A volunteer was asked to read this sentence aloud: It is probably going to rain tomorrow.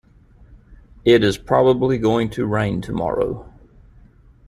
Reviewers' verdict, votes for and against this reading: accepted, 2, 0